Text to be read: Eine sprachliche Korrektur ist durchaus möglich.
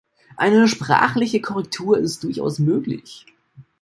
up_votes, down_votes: 2, 0